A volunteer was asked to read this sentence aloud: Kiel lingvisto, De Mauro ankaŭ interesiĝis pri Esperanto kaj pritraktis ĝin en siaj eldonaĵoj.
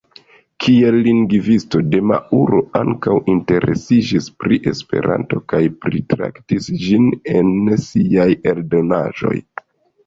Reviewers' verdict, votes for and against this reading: rejected, 0, 2